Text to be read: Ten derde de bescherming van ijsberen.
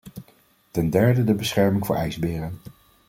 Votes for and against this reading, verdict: 2, 3, rejected